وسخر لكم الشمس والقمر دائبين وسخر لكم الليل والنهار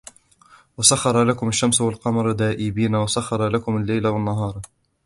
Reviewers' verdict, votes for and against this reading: accepted, 2, 0